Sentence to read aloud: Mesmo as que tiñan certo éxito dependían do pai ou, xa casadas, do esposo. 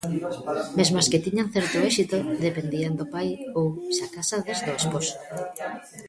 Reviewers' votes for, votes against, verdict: 0, 2, rejected